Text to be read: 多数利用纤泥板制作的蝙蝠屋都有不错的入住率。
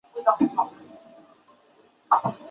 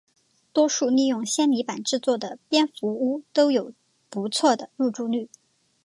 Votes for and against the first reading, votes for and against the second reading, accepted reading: 0, 7, 3, 0, second